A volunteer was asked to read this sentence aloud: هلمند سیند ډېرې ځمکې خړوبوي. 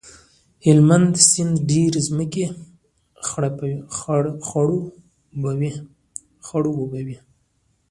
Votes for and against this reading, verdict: 0, 2, rejected